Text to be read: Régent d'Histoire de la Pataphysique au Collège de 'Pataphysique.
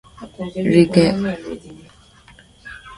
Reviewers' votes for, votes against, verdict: 1, 2, rejected